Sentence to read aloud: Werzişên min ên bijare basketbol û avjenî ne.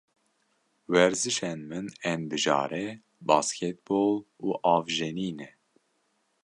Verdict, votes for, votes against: accepted, 2, 1